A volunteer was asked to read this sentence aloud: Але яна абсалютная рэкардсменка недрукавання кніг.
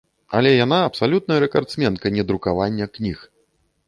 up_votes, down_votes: 2, 0